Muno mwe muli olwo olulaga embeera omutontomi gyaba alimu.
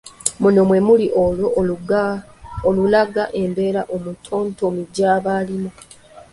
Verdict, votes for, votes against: accepted, 2, 1